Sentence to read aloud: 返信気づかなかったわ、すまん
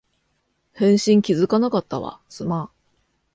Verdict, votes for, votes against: accepted, 2, 0